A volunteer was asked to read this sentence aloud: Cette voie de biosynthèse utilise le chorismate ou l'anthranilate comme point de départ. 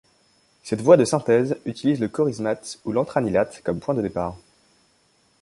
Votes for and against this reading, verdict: 1, 2, rejected